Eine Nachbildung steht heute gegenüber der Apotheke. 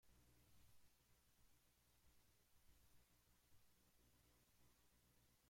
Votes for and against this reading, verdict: 0, 2, rejected